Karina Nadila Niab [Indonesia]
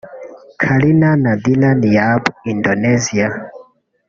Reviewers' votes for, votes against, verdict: 0, 2, rejected